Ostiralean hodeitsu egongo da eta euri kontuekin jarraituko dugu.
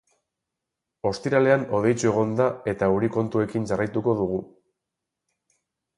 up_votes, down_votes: 0, 2